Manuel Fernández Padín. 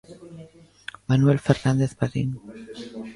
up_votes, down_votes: 2, 0